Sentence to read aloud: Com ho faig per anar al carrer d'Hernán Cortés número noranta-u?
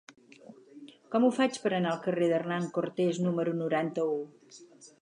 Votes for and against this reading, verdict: 4, 0, accepted